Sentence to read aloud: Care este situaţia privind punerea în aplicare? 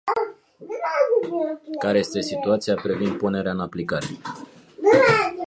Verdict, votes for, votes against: rejected, 1, 2